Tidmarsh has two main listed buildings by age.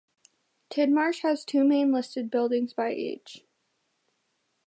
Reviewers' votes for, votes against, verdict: 2, 0, accepted